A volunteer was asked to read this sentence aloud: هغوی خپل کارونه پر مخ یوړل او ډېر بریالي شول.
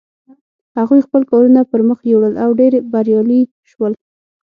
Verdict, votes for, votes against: accepted, 6, 0